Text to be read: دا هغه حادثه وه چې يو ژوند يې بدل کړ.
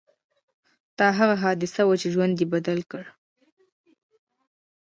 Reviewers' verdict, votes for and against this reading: rejected, 1, 2